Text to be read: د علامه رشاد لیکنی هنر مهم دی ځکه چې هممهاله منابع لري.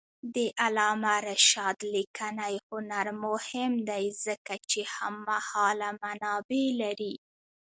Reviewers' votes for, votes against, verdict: 0, 2, rejected